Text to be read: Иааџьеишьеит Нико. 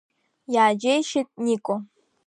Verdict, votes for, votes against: accepted, 2, 0